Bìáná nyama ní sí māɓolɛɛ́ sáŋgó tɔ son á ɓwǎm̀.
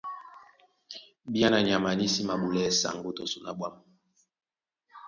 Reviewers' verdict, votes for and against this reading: accepted, 2, 1